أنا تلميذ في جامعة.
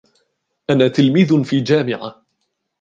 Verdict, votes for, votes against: accepted, 2, 0